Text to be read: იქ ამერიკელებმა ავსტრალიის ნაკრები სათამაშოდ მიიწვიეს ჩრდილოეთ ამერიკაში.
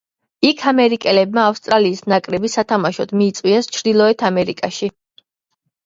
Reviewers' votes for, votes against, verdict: 2, 0, accepted